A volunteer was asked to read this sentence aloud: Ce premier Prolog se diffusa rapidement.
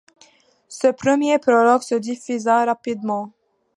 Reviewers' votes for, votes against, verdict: 2, 0, accepted